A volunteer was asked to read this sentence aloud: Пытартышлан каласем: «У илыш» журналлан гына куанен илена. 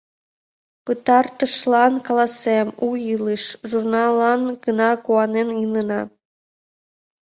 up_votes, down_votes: 2, 1